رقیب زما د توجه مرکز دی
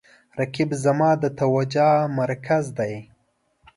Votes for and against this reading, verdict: 1, 2, rejected